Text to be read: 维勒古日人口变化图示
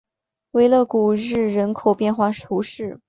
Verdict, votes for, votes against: accepted, 8, 0